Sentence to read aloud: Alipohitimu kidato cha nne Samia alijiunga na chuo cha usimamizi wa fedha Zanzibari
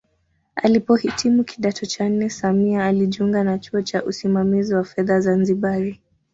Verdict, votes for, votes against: accepted, 2, 1